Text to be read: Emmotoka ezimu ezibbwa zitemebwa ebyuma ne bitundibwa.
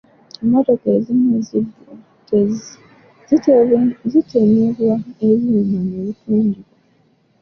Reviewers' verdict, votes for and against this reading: rejected, 0, 2